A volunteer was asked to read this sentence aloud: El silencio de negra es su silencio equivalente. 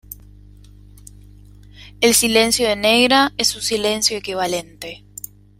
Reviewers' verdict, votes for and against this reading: rejected, 1, 2